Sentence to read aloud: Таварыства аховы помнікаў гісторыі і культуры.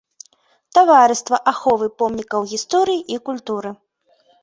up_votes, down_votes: 0, 2